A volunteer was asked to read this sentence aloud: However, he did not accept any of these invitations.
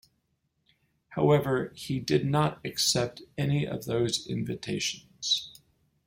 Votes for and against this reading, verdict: 3, 6, rejected